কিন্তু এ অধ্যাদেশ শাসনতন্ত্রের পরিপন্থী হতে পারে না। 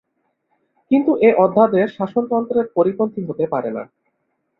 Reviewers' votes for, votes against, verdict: 3, 0, accepted